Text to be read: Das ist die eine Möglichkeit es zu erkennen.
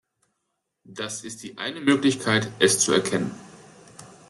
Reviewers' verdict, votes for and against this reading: accepted, 2, 0